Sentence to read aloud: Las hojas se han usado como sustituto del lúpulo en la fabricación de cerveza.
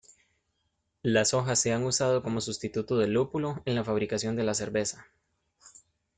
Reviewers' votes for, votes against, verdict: 0, 2, rejected